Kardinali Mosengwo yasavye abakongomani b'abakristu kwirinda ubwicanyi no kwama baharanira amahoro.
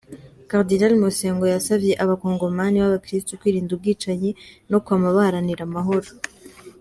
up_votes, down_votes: 2, 1